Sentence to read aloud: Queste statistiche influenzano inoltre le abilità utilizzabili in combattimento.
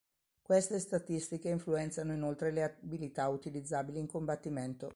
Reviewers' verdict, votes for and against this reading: accepted, 3, 1